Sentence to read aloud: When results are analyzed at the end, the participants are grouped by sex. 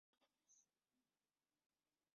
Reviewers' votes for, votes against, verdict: 0, 2, rejected